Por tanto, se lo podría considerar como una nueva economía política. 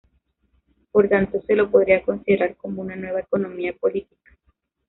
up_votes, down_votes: 1, 2